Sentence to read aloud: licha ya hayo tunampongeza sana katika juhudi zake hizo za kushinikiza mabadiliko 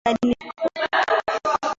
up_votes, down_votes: 0, 2